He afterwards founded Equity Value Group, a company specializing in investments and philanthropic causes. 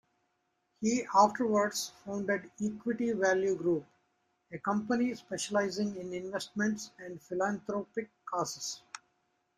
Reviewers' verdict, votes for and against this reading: rejected, 0, 2